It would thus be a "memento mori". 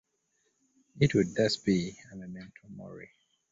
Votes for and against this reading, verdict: 2, 0, accepted